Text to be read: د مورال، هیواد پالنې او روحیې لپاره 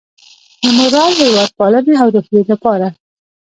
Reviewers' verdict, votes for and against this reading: rejected, 1, 3